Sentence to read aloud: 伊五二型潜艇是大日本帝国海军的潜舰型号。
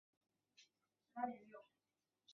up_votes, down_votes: 0, 2